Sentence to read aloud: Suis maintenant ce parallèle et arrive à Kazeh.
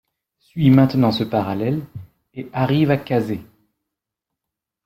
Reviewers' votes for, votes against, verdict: 2, 0, accepted